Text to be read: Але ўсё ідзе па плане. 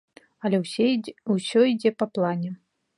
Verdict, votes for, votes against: rejected, 1, 2